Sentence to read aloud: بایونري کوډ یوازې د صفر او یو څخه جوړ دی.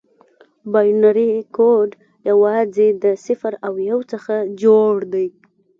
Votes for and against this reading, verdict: 2, 1, accepted